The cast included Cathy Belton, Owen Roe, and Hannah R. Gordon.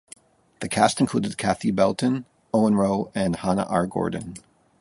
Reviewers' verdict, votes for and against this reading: accepted, 2, 0